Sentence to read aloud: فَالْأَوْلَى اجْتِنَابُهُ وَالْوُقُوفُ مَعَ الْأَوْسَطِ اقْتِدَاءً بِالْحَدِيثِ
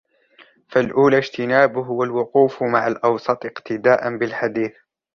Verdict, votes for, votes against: rejected, 1, 2